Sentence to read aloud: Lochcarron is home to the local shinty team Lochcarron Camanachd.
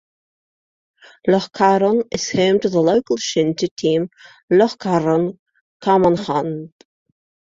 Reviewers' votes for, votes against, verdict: 1, 2, rejected